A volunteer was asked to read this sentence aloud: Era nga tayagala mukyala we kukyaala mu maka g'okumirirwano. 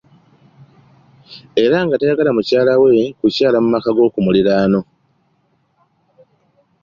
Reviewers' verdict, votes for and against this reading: accepted, 2, 0